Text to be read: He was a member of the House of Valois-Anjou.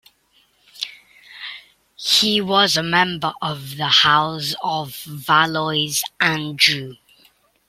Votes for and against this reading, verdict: 1, 2, rejected